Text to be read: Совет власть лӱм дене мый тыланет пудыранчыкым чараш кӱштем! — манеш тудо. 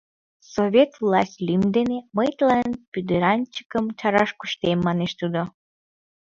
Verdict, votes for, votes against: rejected, 0, 2